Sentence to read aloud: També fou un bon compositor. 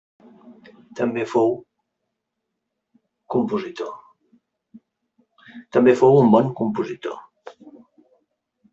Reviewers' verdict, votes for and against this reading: rejected, 0, 2